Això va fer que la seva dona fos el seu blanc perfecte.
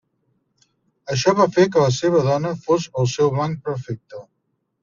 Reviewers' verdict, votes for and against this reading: accepted, 2, 0